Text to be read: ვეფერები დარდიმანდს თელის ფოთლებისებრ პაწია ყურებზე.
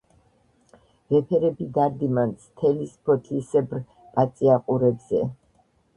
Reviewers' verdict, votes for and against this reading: rejected, 1, 2